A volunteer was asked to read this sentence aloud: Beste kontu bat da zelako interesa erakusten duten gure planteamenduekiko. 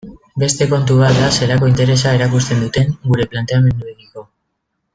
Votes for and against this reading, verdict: 2, 1, accepted